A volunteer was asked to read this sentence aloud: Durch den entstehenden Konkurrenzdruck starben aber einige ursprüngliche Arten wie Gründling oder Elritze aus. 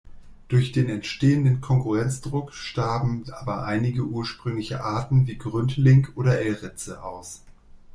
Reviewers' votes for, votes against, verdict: 1, 2, rejected